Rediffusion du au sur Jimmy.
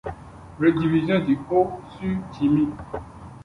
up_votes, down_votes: 1, 2